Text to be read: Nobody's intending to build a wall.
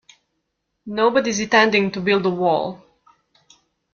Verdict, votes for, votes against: accepted, 2, 0